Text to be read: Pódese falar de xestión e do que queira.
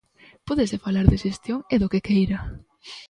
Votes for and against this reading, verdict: 2, 0, accepted